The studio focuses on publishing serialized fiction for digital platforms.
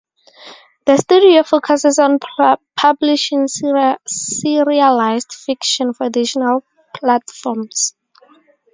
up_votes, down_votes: 0, 4